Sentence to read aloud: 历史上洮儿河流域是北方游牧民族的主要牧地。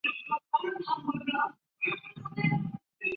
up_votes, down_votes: 1, 3